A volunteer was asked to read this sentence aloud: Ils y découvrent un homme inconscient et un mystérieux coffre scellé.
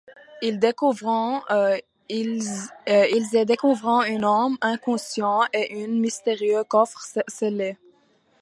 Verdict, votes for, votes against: rejected, 0, 2